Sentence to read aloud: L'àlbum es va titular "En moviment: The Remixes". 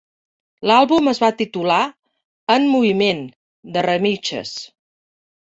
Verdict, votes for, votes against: rejected, 0, 4